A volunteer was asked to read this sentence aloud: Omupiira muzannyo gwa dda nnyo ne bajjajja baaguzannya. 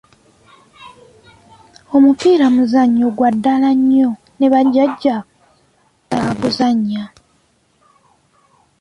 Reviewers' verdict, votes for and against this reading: rejected, 0, 2